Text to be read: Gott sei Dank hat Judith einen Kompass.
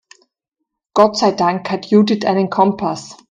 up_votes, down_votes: 2, 0